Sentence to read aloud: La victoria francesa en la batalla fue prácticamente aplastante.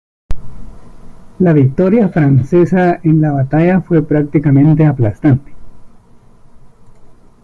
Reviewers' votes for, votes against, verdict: 1, 2, rejected